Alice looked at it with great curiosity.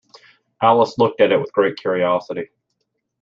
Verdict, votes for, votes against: accepted, 3, 0